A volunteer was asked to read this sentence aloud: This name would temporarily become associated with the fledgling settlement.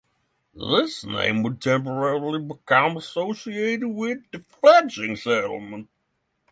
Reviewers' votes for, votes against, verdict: 3, 3, rejected